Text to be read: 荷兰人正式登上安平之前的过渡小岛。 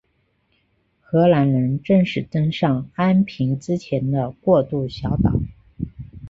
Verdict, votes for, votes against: accepted, 2, 0